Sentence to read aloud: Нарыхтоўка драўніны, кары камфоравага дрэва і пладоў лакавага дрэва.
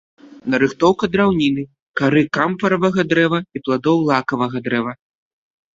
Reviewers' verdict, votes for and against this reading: rejected, 0, 2